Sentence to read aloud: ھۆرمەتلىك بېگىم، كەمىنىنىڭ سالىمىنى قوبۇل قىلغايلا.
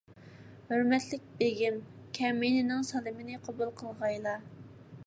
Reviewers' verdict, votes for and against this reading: accepted, 2, 0